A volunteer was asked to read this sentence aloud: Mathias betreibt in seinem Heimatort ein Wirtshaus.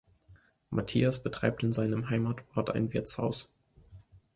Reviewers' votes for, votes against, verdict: 2, 0, accepted